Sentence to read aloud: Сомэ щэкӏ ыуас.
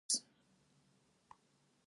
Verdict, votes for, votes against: rejected, 0, 4